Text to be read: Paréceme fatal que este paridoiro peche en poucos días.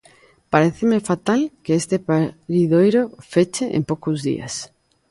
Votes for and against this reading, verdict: 0, 2, rejected